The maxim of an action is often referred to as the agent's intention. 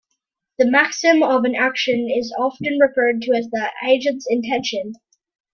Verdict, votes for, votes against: accepted, 2, 0